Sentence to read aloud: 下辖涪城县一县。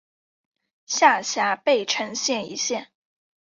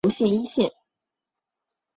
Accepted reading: first